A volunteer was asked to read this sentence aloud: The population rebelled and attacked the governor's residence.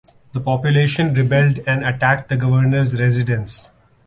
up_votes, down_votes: 2, 0